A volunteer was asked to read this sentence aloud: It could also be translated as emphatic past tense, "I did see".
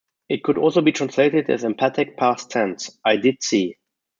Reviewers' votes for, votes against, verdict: 0, 2, rejected